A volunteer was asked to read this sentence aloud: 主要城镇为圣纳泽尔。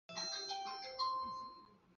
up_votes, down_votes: 0, 2